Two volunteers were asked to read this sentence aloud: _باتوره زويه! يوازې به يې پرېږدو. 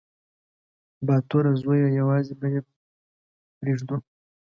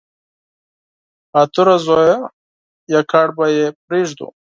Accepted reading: first